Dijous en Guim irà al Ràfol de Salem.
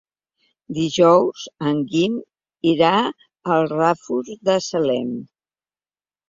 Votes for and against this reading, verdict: 2, 0, accepted